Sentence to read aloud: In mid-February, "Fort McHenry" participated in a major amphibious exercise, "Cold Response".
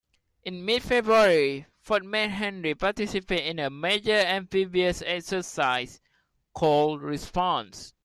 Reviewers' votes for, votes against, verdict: 0, 2, rejected